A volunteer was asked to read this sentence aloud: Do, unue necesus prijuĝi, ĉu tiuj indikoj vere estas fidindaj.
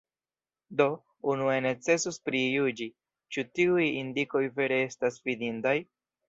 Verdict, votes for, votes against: rejected, 0, 2